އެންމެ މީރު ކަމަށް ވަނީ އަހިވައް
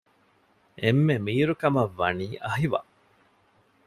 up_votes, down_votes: 2, 0